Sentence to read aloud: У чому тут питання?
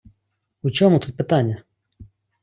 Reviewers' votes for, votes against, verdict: 2, 0, accepted